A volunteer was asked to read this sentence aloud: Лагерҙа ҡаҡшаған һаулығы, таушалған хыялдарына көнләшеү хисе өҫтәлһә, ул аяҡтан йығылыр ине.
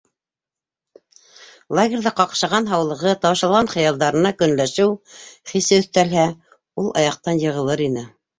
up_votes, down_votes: 2, 0